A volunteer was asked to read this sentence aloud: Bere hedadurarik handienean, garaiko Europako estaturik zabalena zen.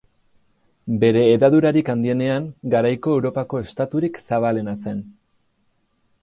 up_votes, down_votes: 2, 2